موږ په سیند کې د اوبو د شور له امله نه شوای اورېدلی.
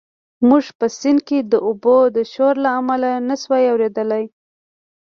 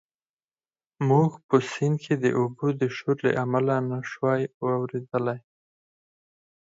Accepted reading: first